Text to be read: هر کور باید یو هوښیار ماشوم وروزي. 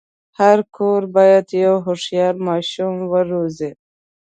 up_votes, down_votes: 2, 0